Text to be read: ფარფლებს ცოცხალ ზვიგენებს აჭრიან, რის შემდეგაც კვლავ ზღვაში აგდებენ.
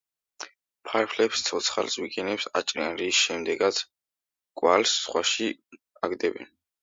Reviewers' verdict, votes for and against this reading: rejected, 1, 2